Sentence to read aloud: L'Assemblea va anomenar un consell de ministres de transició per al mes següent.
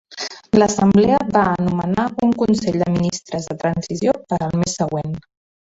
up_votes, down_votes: 1, 2